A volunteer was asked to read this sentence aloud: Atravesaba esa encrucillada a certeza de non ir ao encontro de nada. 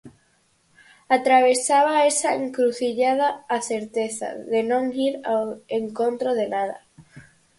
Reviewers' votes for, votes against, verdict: 6, 0, accepted